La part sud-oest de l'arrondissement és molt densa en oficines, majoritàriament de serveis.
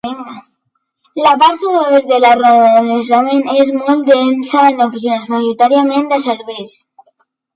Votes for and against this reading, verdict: 0, 3, rejected